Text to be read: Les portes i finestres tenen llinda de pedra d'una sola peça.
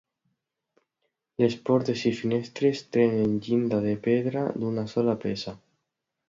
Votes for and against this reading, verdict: 2, 0, accepted